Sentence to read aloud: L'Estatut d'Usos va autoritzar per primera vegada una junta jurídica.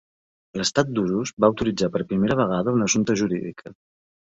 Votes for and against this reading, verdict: 0, 2, rejected